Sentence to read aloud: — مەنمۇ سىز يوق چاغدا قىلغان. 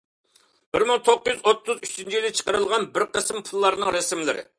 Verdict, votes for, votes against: rejected, 0, 2